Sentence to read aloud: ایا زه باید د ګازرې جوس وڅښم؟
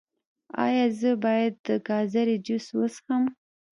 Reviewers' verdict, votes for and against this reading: rejected, 1, 2